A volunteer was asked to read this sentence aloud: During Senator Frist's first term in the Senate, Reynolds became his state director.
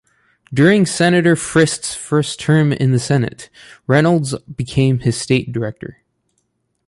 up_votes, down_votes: 2, 0